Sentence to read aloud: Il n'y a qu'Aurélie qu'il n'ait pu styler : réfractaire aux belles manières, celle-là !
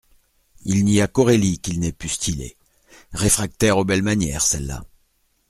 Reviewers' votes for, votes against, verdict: 2, 0, accepted